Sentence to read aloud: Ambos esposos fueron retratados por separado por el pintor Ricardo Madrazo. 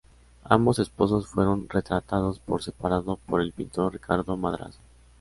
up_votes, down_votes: 2, 0